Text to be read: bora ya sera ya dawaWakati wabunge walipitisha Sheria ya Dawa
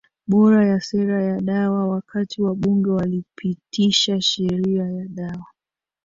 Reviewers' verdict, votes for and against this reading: rejected, 0, 2